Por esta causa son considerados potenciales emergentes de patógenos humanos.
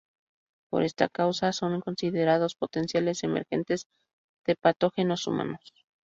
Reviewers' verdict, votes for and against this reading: accepted, 4, 0